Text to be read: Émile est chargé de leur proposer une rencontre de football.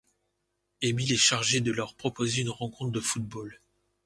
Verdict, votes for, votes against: accepted, 2, 0